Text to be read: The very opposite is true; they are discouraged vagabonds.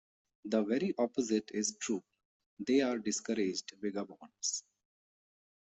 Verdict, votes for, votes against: accepted, 2, 0